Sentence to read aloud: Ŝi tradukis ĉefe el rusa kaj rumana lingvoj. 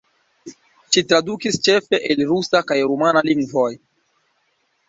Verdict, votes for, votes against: accepted, 2, 0